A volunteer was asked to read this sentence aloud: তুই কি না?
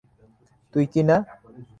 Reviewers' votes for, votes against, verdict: 3, 0, accepted